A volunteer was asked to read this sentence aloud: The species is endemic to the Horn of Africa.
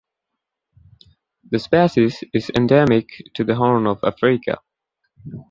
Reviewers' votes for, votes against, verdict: 2, 1, accepted